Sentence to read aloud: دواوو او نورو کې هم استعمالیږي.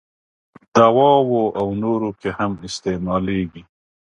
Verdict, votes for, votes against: accepted, 2, 0